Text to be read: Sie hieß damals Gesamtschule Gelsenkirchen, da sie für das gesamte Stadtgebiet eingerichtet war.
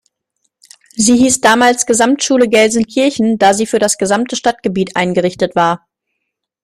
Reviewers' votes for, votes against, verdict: 2, 0, accepted